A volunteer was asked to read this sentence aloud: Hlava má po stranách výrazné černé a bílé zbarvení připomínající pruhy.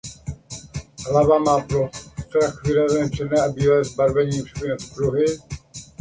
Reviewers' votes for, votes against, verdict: 0, 2, rejected